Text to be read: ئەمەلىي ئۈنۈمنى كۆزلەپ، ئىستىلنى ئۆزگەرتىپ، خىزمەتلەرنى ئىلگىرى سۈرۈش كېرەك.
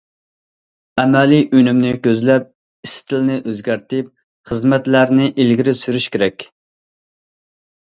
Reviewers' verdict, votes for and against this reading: accepted, 2, 0